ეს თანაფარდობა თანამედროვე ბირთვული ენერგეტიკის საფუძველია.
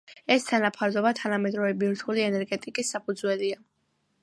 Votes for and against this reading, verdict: 2, 0, accepted